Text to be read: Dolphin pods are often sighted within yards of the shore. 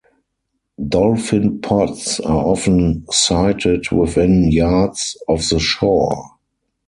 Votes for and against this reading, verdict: 4, 2, accepted